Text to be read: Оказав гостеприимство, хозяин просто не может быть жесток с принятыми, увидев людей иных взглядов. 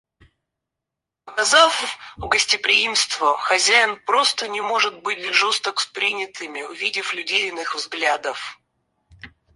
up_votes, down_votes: 0, 4